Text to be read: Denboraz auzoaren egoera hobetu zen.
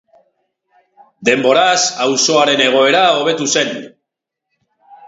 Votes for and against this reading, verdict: 2, 0, accepted